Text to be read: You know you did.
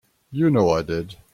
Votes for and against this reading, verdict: 0, 2, rejected